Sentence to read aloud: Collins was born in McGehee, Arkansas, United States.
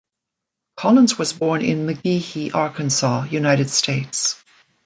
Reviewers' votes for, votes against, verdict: 2, 0, accepted